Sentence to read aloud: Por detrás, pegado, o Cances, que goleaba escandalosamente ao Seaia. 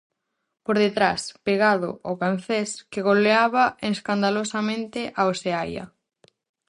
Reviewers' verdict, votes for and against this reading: rejected, 2, 2